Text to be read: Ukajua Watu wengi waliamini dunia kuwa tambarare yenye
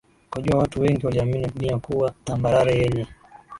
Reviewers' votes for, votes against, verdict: 21, 6, accepted